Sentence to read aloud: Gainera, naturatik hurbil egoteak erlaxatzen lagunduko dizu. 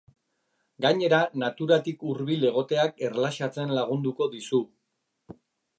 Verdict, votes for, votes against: accepted, 2, 0